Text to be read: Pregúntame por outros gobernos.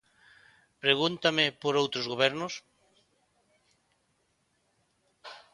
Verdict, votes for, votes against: accepted, 2, 0